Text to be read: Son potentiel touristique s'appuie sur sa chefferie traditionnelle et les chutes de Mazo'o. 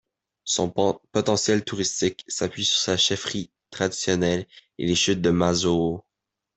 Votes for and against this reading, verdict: 1, 2, rejected